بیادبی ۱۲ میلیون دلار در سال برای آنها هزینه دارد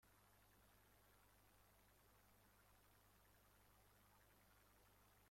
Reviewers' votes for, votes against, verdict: 0, 2, rejected